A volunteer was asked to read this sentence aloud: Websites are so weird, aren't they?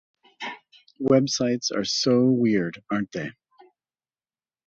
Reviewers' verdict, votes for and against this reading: accepted, 4, 0